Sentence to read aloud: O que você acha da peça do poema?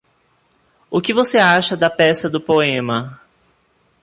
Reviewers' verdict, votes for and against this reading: accepted, 2, 0